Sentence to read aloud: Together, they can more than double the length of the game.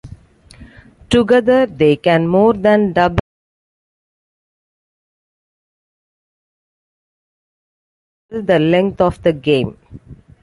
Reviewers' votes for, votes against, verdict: 0, 2, rejected